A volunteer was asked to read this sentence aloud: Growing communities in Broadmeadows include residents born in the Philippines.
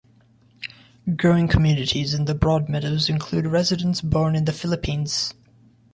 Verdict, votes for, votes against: rejected, 1, 2